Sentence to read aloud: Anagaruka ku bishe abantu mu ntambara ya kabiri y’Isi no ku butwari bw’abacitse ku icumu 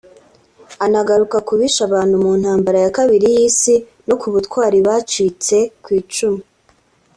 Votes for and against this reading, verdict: 2, 1, accepted